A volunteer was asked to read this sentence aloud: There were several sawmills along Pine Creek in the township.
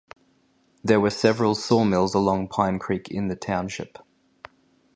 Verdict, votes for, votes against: accepted, 2, 0